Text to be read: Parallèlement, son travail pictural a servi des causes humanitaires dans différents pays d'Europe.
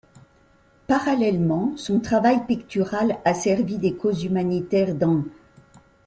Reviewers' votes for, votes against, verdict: 0, 2, rejected